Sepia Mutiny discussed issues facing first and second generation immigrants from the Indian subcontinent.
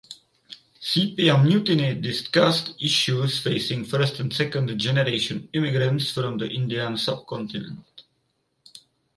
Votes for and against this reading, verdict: 4, 0, accepted